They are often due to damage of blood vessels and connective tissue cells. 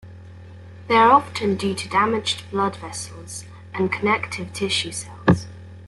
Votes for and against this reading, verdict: 2, 0, accepted